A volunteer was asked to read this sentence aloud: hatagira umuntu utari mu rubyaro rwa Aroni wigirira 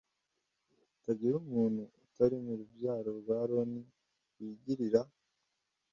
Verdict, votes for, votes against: accepted, 2, 1